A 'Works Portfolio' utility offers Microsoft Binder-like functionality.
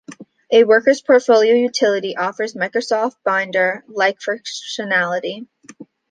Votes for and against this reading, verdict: 1, 2, rejected